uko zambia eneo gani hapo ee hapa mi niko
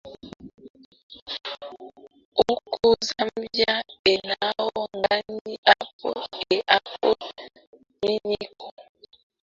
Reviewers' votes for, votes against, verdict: 0, 2, rejected